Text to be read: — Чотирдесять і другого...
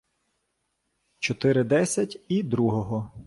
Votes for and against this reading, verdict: 0, 2, rejected